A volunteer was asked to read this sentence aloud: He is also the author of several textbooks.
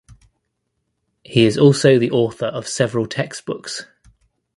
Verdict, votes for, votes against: accepted, 2, 0